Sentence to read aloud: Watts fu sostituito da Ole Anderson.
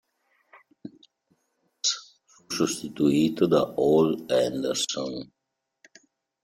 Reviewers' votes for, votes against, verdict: 0, 2, rejected